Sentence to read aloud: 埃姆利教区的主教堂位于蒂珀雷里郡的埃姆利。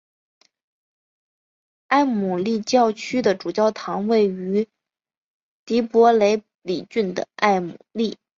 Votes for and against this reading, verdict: 7, 0, accepted